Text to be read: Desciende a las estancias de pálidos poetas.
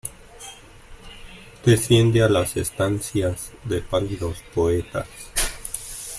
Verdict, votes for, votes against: accepted, 2, 0